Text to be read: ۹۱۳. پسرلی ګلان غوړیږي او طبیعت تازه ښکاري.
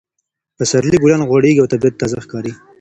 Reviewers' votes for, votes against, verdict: 0, 2, rejected